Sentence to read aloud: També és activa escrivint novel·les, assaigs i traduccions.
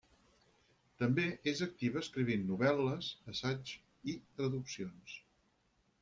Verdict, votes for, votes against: rejected, 0, 4